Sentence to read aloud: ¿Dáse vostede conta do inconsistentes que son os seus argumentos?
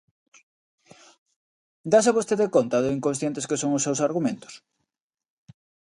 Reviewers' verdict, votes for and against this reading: rejected, 0, 2